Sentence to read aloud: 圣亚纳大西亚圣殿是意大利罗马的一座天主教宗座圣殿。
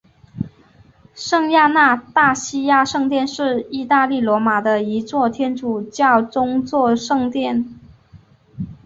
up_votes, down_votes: 3, 1